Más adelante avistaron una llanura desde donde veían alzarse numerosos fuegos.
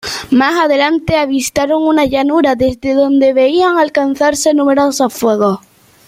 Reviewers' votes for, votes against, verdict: 0, 2, rejected